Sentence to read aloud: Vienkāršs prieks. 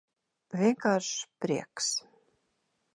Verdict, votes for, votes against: accepted, 2, 0